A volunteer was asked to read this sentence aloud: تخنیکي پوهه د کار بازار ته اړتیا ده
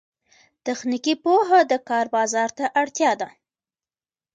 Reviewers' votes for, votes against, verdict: 2, 0, accepted